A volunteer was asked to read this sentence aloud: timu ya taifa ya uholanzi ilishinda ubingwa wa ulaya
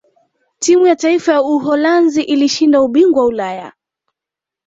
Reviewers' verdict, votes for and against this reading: accepted, 2, 0